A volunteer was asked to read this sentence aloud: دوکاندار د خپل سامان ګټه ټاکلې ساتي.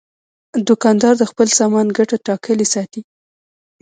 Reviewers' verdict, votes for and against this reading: rejected, 1, 2